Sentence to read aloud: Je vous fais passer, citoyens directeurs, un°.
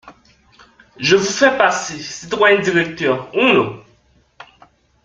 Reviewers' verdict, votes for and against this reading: accepted, 2, 0